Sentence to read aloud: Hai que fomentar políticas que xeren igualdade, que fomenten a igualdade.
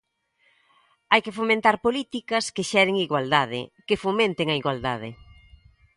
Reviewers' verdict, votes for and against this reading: accepted, 2, 0